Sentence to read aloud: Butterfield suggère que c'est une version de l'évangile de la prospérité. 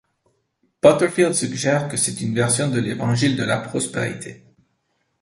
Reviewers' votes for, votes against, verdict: 2, 0, accepted